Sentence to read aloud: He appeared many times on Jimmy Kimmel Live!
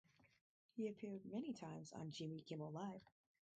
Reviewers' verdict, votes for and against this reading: rejected, 2, 2